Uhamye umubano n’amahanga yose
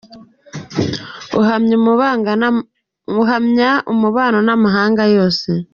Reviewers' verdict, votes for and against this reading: rejected, 0, 2